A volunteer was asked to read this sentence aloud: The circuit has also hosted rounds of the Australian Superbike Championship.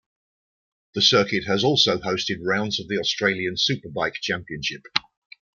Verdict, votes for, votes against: accepted, 2, 0